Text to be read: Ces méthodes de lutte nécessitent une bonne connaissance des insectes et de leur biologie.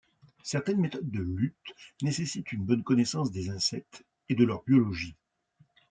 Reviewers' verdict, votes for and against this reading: rejected, 0, 2